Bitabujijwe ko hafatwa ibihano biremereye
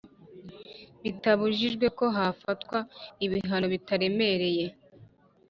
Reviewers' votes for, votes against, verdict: 0, 2, rejected